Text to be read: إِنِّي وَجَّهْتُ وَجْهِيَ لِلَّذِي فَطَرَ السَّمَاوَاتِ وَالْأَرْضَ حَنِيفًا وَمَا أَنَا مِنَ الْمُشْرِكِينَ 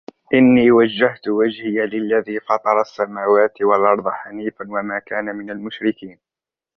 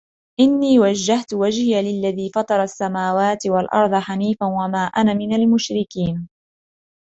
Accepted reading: second